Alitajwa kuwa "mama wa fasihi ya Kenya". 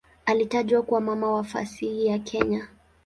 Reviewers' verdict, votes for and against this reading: accepted, 2, 0